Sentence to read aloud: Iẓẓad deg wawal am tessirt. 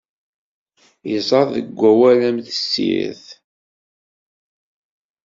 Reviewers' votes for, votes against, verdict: 2, 0, accepted